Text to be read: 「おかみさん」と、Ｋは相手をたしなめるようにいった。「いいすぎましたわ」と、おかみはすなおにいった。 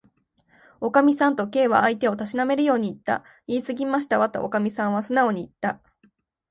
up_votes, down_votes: 3, 0